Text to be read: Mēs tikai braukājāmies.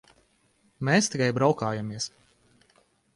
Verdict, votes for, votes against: rejected, 0, 2